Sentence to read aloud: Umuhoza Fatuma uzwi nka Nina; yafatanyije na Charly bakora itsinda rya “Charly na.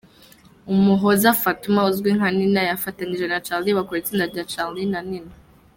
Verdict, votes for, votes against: rejected, 1, 2